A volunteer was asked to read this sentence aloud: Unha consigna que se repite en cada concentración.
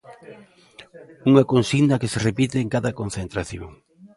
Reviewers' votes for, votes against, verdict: 2, 0, accepted